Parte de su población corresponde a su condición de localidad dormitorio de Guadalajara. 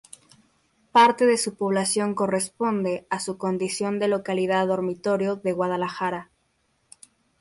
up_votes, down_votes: 0, 2